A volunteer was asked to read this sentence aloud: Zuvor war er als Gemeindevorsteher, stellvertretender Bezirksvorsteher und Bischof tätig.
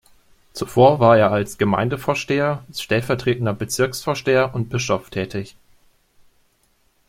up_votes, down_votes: 2, 0